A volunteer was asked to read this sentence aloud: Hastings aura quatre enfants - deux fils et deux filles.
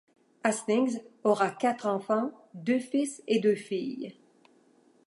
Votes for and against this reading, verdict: 2, 0, accepted